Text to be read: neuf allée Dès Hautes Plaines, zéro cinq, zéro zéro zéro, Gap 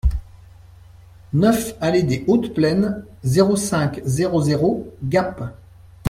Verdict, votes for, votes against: accepted, 2, 1